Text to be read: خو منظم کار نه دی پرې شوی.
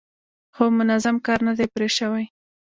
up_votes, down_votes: 1, 2